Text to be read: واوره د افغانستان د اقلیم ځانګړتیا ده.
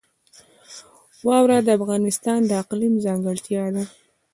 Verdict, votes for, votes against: accepted, 2, 1